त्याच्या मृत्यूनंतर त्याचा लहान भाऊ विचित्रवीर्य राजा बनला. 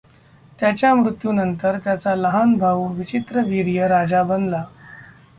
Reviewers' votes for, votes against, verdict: 2, 0, accepted